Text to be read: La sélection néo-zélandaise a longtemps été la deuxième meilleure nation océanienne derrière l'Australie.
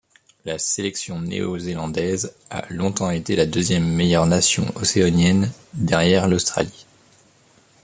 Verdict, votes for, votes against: rejected, 1, 2